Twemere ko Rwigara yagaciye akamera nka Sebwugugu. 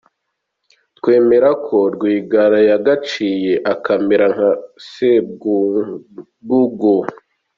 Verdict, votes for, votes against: accepted, 2, 0